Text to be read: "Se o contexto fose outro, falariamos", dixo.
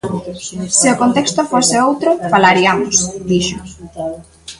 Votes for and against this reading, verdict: 2, 1, accepted